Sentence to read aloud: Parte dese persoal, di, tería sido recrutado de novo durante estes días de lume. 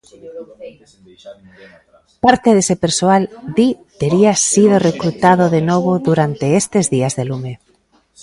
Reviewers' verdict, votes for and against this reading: rejected, 0, 2